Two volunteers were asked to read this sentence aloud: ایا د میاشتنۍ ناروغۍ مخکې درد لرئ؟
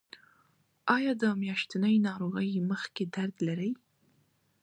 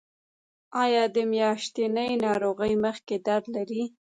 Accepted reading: first